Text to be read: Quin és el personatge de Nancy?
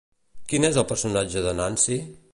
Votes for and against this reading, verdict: 2, 0, accepted